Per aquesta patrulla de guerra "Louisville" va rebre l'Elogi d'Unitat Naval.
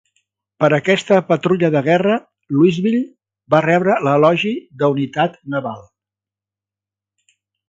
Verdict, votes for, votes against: rejected, 1, 2